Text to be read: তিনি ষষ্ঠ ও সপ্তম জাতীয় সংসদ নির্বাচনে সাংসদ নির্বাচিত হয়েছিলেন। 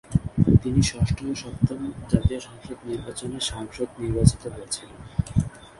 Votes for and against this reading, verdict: 1, 3, rejected